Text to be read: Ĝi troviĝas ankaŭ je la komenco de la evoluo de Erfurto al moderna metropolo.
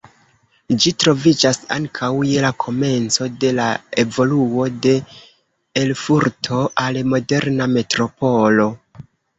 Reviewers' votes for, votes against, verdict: 1, 2, rejected